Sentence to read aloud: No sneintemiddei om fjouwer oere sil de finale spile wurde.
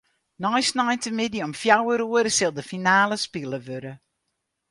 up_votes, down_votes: 0, 4